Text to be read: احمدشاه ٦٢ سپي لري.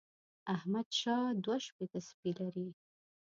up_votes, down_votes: 0, 2